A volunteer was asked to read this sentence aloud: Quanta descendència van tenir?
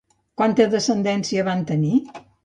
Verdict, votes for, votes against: accepted, 2, 0